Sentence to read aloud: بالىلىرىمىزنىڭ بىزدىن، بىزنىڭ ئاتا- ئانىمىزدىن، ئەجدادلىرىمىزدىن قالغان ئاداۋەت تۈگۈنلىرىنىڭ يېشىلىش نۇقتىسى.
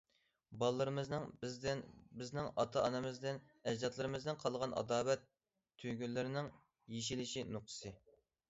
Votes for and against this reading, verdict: 1, 2, rejected